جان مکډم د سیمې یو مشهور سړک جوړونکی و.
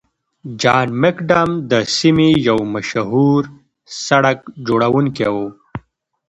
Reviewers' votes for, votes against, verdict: 2, 0, accepted